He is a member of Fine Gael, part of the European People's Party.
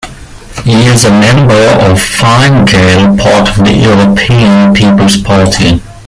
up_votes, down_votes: 0, 2